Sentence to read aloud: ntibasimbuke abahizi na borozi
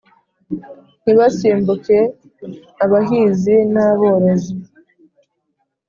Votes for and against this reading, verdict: 3, 0, accepted